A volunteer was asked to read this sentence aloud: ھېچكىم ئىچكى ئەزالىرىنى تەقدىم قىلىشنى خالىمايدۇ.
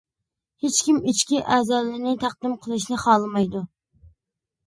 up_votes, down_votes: 3, 0